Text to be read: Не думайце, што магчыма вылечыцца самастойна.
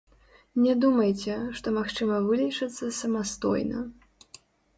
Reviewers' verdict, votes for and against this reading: rejected, 0, 2